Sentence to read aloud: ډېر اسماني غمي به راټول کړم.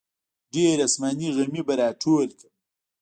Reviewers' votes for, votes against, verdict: 2, 1, accepted